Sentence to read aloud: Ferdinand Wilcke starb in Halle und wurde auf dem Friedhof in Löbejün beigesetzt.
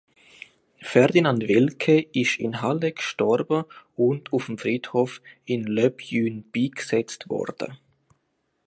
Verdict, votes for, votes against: rejected, 0, 2